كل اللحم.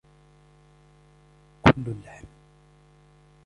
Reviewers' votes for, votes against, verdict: 1, 2, rejected